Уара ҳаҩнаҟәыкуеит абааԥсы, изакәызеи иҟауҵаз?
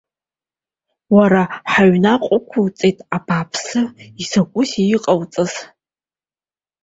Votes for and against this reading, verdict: 1, 2, rejected